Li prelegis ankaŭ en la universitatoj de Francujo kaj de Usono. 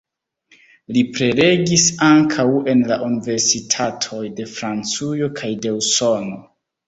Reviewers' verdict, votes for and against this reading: accepted, 2, 0